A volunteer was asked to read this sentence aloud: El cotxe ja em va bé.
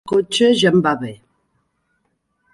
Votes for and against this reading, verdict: 0, 2, rejected